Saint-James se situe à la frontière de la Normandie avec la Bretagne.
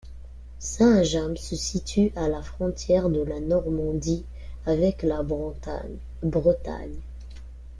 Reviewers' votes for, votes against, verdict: 0, 2, rejected